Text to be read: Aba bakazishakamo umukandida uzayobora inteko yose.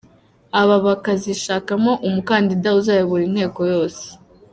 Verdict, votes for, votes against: accepted, 2, 1